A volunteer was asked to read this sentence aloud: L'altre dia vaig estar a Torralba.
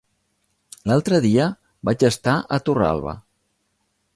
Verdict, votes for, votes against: accepted, 2, 1